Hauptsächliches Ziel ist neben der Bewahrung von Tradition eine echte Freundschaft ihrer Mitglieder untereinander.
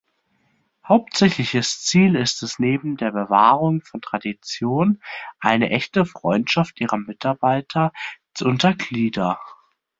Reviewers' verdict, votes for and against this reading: rejected, 0, 2